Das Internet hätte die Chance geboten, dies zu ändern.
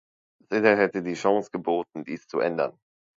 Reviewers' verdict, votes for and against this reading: rejected, 1, 2